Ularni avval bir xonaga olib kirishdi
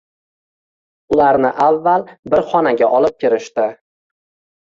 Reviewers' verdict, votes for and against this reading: rejected, 1, 2